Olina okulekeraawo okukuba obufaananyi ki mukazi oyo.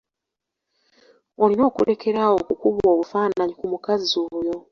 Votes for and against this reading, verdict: 2, 0, accepted